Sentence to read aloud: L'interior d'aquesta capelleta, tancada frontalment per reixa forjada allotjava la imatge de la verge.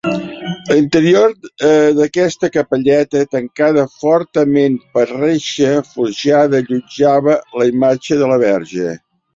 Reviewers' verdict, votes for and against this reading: rejected, 1, 3